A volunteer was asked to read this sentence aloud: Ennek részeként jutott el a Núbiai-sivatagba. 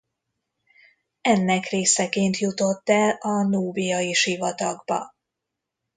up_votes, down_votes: 2, 0